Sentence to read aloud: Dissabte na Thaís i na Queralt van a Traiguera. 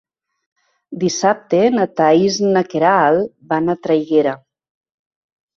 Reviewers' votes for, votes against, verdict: 3, 0, accepted